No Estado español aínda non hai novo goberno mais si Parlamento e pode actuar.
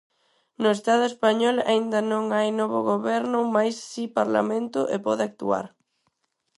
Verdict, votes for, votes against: accepted, 4, 0